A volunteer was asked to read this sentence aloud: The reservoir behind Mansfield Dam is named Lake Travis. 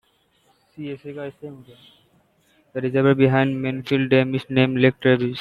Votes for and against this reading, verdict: 0, 2, rejected